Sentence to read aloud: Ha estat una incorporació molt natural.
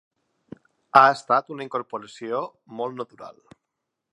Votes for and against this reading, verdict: 3, 0, accepted